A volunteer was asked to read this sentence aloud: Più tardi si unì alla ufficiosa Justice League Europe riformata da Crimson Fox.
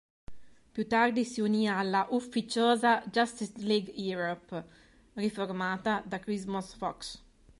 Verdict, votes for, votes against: rejected, 1, 2